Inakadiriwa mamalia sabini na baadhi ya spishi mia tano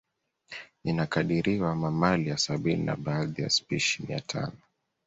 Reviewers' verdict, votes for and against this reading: accepted, 2, 0